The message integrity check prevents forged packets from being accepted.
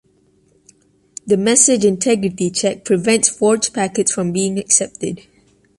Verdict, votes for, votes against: accepted, 2, 0